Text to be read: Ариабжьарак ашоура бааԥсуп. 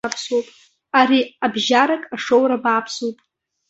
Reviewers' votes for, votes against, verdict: 0, 2, rejected